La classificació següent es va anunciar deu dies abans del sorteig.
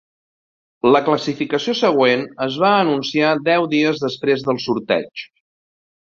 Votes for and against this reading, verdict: 1, 3, rejected